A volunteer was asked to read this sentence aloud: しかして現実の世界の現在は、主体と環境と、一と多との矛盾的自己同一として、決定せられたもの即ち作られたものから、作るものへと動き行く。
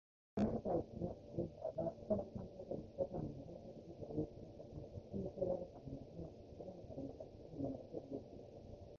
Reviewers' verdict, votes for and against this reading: rejected, 0, 2